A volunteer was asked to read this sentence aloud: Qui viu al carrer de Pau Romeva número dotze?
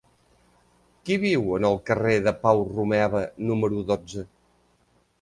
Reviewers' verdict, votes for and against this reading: rejected, 0, 2